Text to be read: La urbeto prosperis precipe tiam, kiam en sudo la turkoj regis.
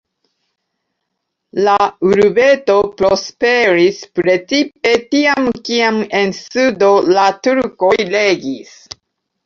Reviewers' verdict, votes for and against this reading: accepted, 2, 0